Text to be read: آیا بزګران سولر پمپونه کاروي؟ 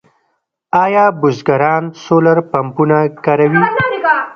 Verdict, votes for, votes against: rejected, 1, 2